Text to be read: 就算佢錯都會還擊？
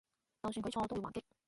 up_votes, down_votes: 0, 3